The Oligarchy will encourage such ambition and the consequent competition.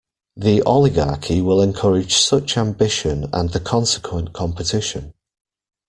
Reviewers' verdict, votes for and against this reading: accepted, 2, 0